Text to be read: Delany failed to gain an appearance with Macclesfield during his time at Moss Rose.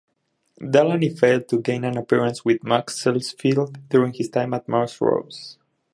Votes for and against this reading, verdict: 0, 2, rejected